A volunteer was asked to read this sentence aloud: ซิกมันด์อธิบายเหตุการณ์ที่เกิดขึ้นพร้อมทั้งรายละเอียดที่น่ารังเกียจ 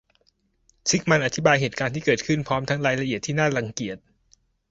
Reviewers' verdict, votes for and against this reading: accepted, 2, 0